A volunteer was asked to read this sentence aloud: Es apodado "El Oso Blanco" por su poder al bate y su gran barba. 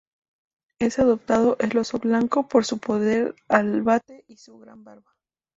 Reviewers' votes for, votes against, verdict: 0, 2, rejected